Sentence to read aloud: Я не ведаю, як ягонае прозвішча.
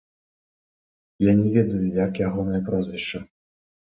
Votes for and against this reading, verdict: 0, 3, rejected